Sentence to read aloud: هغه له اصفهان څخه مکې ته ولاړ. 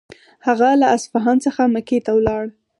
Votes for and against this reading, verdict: 4, 0, accepted